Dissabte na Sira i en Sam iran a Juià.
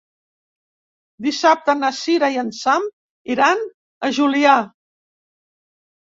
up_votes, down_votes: 0, 2